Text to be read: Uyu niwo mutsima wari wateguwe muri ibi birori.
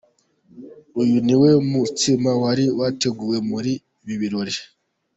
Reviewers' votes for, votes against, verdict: 2, 0, accepted